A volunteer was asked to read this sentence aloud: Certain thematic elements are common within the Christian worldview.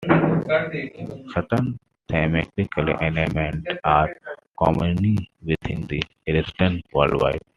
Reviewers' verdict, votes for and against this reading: rejected, 1, 2